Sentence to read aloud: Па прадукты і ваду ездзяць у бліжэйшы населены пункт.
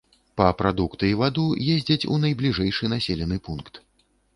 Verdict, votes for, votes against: rejected, 0, 2